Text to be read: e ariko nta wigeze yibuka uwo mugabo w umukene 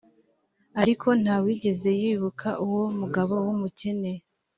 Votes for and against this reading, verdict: 2, 0, accepted